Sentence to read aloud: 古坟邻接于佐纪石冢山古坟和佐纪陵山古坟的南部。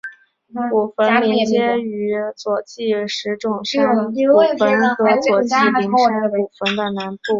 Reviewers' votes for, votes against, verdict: 6, 1, accepted